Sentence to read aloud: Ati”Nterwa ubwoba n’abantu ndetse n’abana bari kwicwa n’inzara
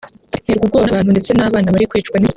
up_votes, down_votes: 0, 3